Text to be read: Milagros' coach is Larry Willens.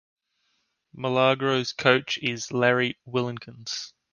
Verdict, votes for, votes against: rejected, 1, 2